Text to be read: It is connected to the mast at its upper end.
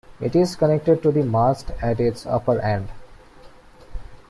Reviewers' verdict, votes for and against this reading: accepted, 2, 0